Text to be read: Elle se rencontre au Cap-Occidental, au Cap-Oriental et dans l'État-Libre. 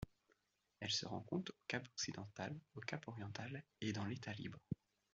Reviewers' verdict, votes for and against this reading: accepted, 2, 1